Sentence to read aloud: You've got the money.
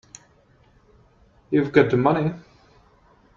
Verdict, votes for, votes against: accepted, 3, 0